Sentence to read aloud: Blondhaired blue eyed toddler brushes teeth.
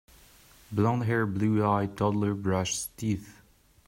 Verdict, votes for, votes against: rejected, 0, 2